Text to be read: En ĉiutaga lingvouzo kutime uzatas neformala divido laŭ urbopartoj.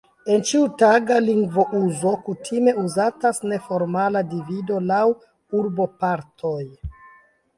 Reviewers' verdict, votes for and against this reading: accepted, 2, 0